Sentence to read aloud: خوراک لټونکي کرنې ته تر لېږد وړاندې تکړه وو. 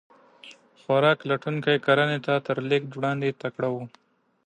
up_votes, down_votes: 2, 0